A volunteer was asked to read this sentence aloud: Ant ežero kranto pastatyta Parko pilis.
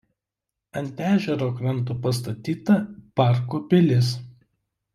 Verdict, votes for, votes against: accepted, 2, 0